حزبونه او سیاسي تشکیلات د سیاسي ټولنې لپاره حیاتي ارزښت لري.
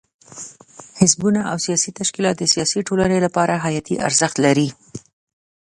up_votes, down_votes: 1, 2